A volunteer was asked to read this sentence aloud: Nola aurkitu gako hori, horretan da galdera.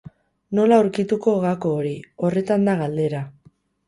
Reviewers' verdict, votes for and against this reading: rejected, 2, 2